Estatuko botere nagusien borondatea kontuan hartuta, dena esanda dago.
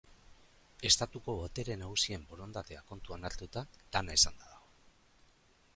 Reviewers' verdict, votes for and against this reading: rejected, 1, 2